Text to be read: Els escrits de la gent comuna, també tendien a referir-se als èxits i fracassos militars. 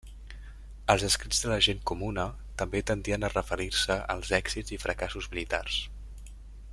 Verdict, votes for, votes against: accepted, 2, 1